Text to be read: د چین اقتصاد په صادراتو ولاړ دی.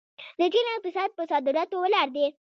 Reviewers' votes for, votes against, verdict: 1, 2, rejected